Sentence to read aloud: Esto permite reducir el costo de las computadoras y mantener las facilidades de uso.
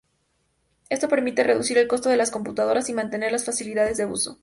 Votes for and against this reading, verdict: 0, 2, rejected